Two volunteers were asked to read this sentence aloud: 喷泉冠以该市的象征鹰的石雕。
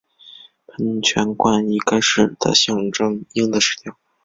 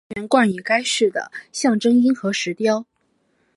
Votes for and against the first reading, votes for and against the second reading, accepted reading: 5, 1, 1, 2, first